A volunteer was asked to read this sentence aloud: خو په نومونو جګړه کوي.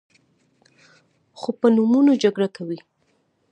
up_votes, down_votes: 0, 2